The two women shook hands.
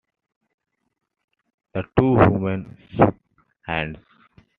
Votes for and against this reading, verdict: 0, 2, rejected